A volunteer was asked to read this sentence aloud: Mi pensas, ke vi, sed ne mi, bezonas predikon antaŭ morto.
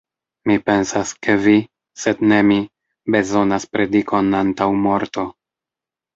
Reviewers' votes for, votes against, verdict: 2, 1, accepted